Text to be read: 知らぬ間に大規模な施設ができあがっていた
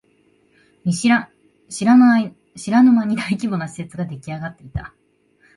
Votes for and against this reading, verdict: 1, 2, rejected